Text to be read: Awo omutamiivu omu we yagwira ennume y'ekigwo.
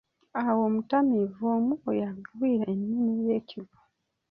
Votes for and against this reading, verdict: 2, 1, accepted